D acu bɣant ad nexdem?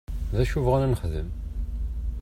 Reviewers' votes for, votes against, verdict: 0, 2, rejected